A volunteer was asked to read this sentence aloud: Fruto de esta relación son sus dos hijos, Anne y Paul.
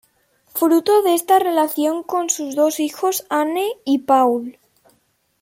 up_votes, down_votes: 1, 2